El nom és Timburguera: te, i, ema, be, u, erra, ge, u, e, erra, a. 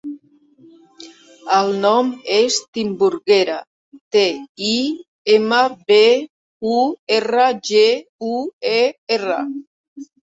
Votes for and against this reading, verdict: 0, 2, rejected